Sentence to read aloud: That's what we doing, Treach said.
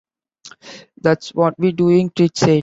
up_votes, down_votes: 1, 2